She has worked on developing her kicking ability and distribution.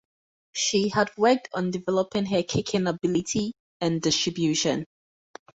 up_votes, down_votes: 0, 4